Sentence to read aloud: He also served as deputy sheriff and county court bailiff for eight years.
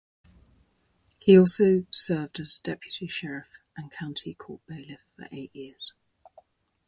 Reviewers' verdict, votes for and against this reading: accepted, 2, 0